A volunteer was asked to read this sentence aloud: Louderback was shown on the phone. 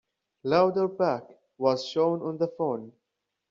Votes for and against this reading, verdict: 2, 0, accepted